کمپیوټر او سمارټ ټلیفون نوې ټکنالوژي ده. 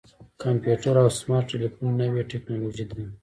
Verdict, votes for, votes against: accepted, 2, 1